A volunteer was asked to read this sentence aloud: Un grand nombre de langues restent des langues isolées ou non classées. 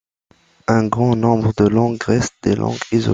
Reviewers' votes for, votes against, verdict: 0, 2, rejected